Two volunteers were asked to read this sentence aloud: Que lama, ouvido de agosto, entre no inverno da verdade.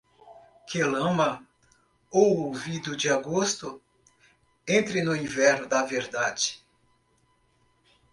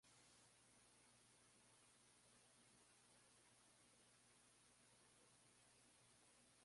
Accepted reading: first